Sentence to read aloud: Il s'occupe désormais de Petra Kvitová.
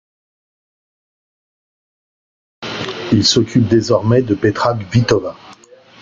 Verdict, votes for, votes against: rejected, 1, 2